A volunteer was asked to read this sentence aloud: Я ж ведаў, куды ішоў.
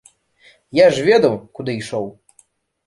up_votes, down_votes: 2, 0